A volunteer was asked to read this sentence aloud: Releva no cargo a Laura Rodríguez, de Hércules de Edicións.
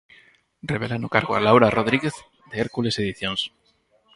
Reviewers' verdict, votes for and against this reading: rejected, 0, 4